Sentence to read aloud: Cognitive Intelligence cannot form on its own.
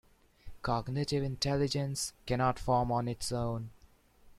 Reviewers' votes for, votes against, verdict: 2, 0, accepted